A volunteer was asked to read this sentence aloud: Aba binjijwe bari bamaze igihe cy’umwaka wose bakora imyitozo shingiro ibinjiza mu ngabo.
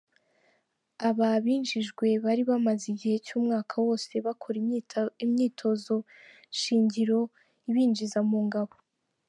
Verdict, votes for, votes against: rejected, 0, 2